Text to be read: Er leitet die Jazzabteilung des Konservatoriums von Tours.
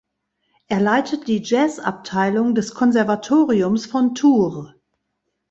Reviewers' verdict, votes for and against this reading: accepted, 2, 0